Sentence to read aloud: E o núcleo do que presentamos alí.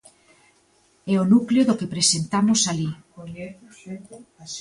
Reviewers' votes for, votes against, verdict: 1, 2, rejected